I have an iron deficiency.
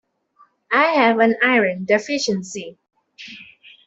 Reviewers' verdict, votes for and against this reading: accepted, 2, 0